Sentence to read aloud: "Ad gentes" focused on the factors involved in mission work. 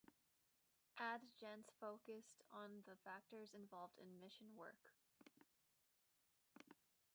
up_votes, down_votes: 2, 1